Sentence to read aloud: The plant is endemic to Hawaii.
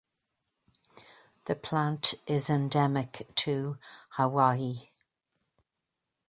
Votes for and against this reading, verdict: 2, 0, accepted